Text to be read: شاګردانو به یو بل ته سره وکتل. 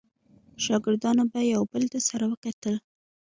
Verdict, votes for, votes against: accepted, 2, 0